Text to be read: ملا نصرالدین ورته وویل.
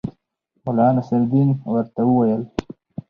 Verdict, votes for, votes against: rejected, 0, 2